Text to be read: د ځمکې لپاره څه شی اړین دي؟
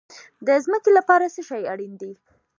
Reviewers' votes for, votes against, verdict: 1, 2, rejected